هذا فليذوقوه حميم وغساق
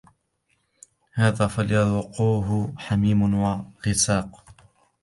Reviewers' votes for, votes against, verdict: 0, 2, rejected